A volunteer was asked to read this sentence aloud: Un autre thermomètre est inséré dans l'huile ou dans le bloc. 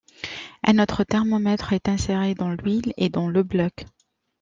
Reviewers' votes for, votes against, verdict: 1, 2, rejected